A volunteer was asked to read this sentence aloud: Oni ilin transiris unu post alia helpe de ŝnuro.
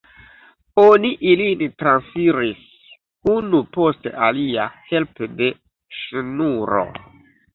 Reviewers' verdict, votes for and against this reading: rejected, 0, 2